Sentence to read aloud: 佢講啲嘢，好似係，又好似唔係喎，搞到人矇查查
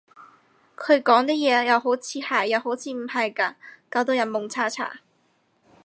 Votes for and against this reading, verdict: 0, 4, rejected